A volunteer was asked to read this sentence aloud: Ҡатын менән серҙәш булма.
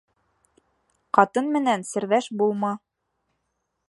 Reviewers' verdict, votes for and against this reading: accepted, 3, 0